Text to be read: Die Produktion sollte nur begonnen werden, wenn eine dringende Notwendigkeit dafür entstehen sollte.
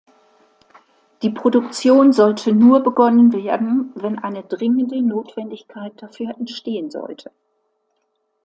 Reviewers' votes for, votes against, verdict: 2, 0, accepted